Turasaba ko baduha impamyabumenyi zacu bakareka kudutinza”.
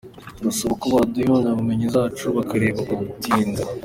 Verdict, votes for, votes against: accepted, 2, 1